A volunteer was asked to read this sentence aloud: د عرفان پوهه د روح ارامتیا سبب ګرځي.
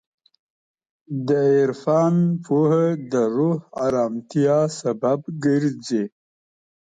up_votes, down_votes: 2, 0